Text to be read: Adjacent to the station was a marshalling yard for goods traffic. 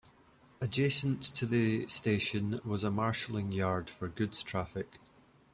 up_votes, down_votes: 2, 0